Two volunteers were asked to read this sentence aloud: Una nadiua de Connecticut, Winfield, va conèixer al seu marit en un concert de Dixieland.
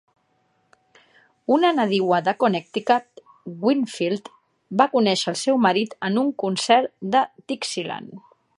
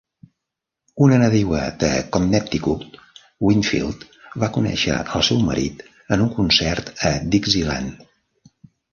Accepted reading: first